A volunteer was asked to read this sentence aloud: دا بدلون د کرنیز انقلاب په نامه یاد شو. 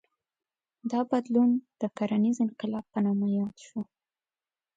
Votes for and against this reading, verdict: 2, 0, accepted